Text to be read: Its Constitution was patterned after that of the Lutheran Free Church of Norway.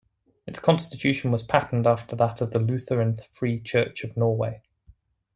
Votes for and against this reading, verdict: 2, 0, accepted